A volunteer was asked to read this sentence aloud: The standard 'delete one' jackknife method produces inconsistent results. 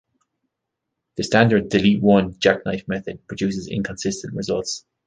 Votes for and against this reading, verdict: 2, 0, accepted